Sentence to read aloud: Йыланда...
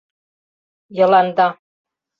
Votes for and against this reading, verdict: 2, 0, accepted